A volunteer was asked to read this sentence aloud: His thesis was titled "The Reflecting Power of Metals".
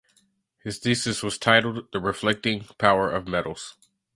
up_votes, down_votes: 2, 0